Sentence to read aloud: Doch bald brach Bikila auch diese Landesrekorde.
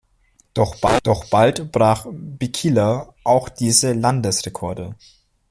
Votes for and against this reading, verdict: 0, 2, rejected